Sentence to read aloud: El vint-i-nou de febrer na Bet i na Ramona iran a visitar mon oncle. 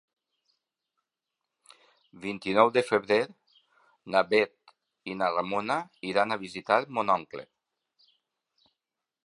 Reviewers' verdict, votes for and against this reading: rejected, 1, 2